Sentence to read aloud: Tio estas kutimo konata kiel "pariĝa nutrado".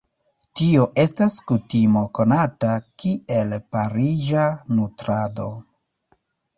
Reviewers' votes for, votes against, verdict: 2, 1, accepted